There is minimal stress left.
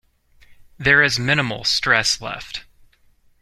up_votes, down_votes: 2, 0